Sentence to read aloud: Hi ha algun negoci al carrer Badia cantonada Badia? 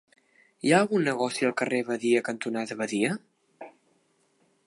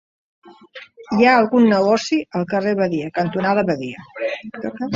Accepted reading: first